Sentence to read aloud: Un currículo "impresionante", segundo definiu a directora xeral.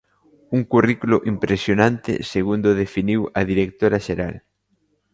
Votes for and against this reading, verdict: 2, 0, accepted